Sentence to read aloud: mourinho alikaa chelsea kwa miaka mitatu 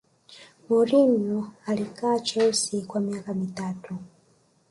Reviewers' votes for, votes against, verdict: 1, 2, rejected